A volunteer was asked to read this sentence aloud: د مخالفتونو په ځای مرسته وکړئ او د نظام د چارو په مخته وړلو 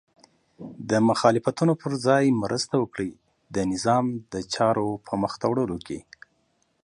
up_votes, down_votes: 2, 0